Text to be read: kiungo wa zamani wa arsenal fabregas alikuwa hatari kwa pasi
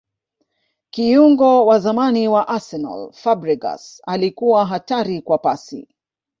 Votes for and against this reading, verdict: 2, 0, accepted